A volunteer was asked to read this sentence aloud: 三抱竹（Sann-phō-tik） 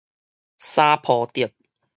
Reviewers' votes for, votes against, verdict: 4, 0, accepted